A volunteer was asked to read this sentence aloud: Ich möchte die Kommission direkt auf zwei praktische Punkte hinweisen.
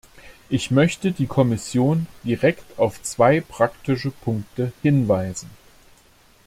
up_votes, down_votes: 2, 0